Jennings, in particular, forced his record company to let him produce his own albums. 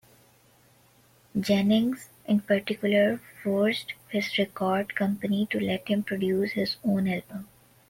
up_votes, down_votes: 0, 2